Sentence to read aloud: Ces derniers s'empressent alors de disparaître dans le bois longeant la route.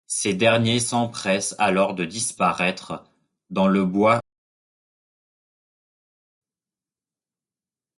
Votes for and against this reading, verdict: 0, 2, rejected